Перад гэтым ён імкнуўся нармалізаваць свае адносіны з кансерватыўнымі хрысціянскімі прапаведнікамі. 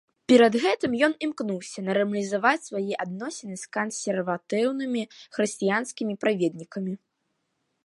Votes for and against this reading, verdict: 0, 2, rejected